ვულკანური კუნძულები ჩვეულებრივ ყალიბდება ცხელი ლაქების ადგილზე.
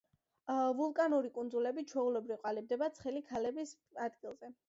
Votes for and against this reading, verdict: 0, 2, rejected